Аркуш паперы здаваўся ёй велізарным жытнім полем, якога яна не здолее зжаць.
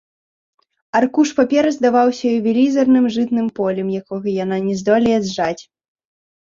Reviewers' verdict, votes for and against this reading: rejected, 2, 3